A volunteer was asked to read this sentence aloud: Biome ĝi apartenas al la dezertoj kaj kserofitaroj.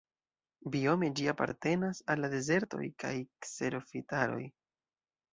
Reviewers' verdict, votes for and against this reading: rejected, 1, 2